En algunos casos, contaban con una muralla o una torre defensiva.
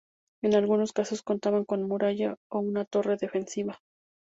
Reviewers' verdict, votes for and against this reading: rejected, 0, 2